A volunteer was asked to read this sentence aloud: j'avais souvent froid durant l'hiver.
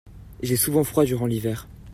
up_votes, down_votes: 0, 2